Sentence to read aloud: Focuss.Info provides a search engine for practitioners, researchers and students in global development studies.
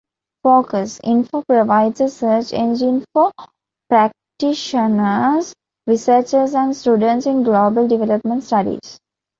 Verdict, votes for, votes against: rejected, 1, 2